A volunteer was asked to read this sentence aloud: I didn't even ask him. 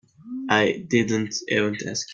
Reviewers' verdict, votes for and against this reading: rejected, 1, 2